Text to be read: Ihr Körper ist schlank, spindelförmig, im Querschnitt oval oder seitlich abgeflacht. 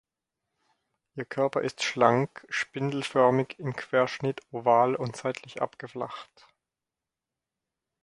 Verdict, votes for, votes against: rejected, 2, 4